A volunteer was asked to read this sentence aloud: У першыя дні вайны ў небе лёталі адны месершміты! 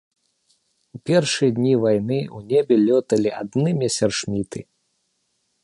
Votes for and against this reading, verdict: 1, 2, rejected